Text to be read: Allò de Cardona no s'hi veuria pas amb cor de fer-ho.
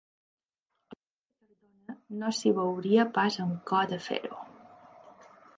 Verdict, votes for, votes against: rejected, 0, 2